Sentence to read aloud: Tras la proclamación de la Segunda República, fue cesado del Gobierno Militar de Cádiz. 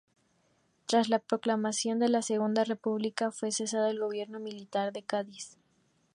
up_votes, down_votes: 2, 0